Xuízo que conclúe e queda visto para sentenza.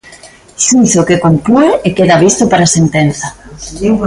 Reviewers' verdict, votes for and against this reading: accepted, 3, 1